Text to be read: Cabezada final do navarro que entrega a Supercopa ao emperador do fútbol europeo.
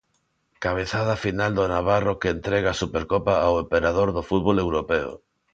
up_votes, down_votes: 2, 0